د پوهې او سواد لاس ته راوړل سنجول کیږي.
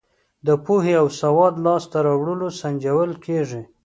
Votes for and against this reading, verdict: 2, 0, accepted